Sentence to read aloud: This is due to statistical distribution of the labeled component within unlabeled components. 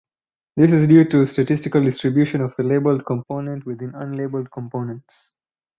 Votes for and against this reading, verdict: 2, 2, rejected